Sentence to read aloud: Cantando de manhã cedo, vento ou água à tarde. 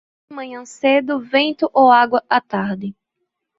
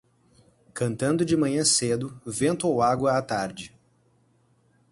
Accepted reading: second